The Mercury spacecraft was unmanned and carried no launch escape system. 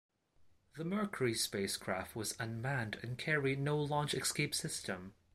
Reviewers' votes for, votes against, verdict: 2, 0, accepted